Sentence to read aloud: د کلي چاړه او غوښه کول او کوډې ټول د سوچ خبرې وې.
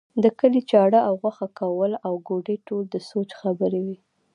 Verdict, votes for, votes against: rejected, 1, 2